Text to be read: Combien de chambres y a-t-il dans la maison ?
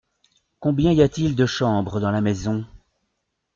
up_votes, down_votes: 0, 2